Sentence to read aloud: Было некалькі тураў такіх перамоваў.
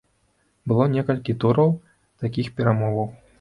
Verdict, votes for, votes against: accepted, 2, 0